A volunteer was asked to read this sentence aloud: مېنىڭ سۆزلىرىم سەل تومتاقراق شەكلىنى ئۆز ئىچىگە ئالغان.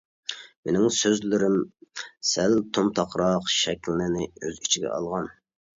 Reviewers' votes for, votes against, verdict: 2, 1, accepted